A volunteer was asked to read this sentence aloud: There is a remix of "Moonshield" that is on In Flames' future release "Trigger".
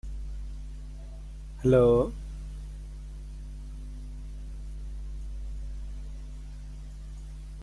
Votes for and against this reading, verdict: 0, 2, rejected